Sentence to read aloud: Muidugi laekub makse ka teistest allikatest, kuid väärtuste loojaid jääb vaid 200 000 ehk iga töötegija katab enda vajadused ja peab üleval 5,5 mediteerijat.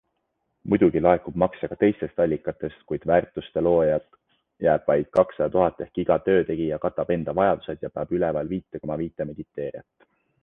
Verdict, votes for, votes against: rejected, 0, 2